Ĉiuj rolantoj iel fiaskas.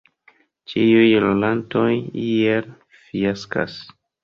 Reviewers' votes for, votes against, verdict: 1, 2, rejected